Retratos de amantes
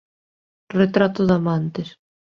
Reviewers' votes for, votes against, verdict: 1, 2, rejected